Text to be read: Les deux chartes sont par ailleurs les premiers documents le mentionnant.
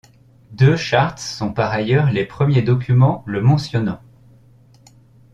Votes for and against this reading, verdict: 1, 2, rejected